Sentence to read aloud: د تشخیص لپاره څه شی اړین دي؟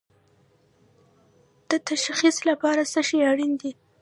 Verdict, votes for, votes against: rejected, 1, 2